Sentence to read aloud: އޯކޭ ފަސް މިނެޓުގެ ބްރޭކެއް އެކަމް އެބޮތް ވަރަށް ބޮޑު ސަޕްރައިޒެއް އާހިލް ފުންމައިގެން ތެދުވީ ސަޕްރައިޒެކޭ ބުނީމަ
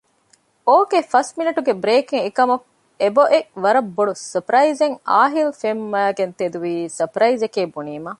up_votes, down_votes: 0, 2